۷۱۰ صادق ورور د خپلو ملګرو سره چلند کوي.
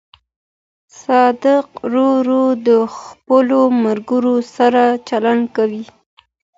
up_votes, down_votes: 0, 2